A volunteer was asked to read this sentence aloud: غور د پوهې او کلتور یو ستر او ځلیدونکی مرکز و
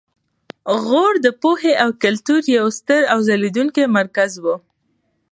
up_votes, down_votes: 2, 0